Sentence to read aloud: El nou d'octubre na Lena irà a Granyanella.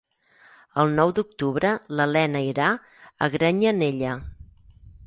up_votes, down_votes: 0, 4